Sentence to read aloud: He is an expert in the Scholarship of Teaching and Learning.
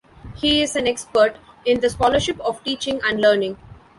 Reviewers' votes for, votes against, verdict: 2, 0, accepted